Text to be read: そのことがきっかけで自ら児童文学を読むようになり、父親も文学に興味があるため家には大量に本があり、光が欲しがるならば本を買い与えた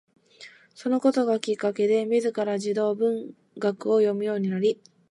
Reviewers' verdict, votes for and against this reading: rejected, 0, 2